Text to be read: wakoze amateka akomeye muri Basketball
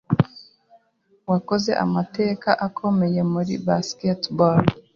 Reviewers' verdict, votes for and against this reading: accepted, 2, 0